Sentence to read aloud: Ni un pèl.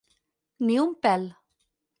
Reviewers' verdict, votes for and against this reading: accepted, 4, 0